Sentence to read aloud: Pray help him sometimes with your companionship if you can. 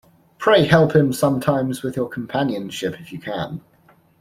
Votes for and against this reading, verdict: 2, 0, accepted